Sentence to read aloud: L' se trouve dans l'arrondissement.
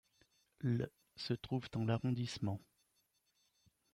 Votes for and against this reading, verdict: 0, 2, rejected